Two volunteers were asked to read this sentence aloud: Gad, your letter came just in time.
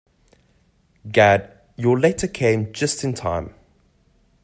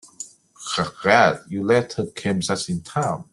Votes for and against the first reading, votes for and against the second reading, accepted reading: 2, 0, 1, 2, first